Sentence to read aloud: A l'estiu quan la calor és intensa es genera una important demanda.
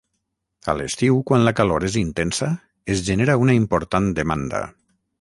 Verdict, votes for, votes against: accepted, 6, 0